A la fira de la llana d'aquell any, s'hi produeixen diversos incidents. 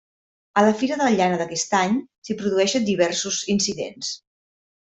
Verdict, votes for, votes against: rejected, 0, 2